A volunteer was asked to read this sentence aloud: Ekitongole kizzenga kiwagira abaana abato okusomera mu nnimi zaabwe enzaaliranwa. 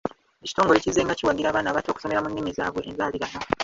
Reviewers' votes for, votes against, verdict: 1, 2, rejected